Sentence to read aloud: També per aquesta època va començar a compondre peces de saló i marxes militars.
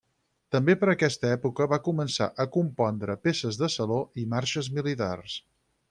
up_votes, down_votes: 6, 0